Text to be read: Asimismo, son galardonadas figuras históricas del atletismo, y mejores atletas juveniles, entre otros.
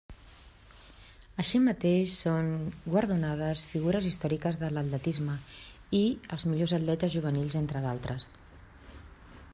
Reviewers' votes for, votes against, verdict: 0, 2, rejected